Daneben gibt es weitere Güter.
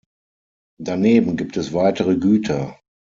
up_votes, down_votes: 6, 0